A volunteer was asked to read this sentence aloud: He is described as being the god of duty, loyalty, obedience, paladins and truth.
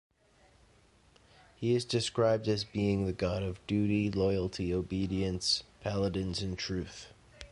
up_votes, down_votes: 0, 2